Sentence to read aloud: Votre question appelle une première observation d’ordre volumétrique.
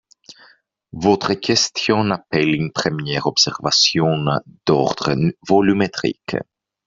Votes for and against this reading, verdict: 1, 2, rejected